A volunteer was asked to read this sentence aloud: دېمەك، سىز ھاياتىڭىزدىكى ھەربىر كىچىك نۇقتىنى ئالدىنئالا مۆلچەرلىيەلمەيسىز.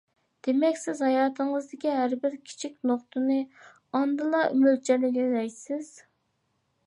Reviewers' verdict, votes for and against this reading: rejected, 0, 2